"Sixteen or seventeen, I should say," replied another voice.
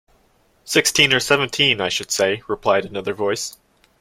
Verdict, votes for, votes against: accepted, 2, 0